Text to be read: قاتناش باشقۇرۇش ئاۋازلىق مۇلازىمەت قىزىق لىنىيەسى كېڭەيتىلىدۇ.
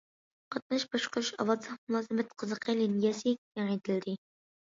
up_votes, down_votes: 1, 2